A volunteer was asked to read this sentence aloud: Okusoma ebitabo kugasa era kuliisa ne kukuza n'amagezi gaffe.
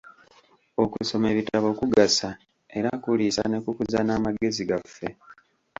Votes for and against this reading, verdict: 1, 2, rejected